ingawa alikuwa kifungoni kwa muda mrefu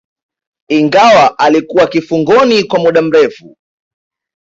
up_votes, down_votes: 2, 0